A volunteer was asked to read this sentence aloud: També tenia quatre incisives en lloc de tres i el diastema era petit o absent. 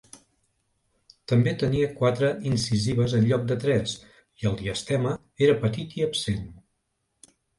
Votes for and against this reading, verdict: 1, 2, rejected